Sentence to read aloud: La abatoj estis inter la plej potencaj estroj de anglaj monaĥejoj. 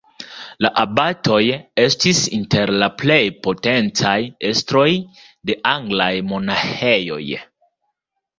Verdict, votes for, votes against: accepted, 2, 0